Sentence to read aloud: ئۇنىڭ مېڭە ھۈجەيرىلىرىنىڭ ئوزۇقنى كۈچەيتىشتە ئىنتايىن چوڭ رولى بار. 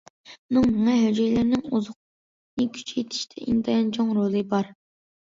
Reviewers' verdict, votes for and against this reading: rejected, 1, 2